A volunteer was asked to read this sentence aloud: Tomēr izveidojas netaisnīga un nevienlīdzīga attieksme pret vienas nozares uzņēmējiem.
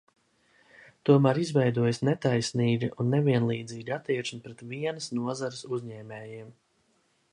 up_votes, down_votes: 2, 0